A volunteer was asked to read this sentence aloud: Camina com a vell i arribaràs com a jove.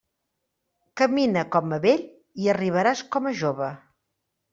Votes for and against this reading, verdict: 3, 0, accepted